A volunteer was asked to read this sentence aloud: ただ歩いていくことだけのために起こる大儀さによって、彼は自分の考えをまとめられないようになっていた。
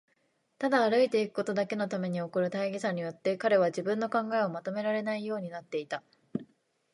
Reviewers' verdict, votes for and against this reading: accepted, 2, 0